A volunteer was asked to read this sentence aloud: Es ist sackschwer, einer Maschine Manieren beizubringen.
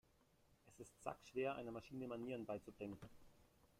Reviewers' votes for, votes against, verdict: 1, 2, rejected